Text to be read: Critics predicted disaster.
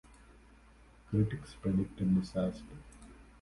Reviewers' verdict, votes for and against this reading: accepted, 2, 0